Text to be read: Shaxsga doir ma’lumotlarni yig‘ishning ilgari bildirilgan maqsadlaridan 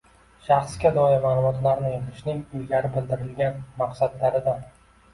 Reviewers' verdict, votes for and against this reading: accepted, 2, 0